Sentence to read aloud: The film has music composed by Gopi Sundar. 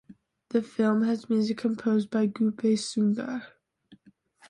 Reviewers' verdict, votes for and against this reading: rejected, 1, 2